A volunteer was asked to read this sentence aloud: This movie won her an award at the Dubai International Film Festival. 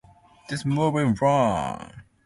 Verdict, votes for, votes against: rejected, 0, 2